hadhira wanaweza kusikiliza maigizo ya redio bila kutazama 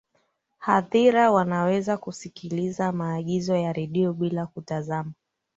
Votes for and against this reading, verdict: 2, 0, accepted